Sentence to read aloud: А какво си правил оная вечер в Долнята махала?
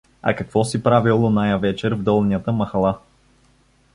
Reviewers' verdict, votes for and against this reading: accepted, 2, 0